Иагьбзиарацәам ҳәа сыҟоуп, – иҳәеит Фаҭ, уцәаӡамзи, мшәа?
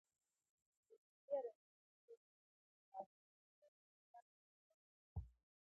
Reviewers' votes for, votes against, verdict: 0, 2, rejected